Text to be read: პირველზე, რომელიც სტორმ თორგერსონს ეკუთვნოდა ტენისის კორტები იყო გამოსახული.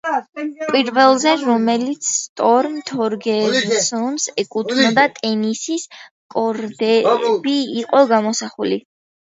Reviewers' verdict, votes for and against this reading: accepted, 2, 1